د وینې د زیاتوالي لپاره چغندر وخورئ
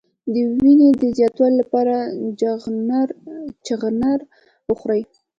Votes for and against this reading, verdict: 1, 2, rejected